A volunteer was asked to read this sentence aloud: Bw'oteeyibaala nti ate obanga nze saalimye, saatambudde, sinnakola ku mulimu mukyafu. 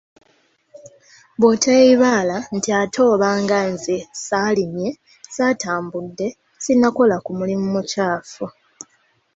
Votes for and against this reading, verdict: 2, 0, accepted